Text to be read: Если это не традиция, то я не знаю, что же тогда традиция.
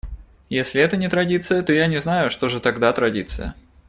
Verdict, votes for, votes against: accepted, 2, 1